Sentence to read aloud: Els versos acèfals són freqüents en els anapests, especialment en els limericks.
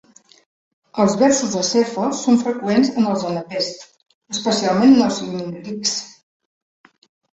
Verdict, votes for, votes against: rejected, 1, 2